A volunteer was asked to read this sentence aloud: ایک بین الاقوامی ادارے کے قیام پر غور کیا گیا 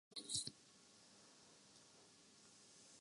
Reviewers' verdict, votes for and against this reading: rejected, 0, 2